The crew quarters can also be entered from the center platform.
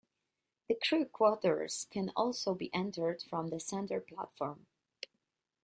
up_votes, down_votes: 2, 0